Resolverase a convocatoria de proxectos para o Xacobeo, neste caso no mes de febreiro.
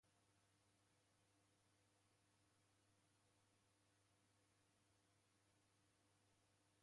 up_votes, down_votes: 0, 2